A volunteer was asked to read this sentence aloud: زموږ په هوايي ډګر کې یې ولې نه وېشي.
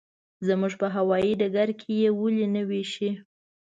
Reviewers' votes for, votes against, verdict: 2, 0, accepted